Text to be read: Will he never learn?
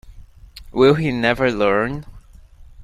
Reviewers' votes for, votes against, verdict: 2, 0, accepted